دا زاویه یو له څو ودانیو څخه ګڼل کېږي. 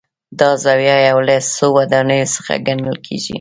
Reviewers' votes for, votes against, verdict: 0, 2, rejected